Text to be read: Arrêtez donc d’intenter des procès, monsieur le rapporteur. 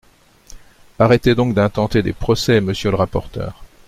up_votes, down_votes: 2, 0